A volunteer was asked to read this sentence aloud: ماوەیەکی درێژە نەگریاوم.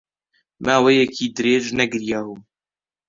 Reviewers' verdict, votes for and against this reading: rejected, 1, 2